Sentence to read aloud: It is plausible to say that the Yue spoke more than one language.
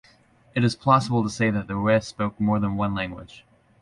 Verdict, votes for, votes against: accepted, 2, 0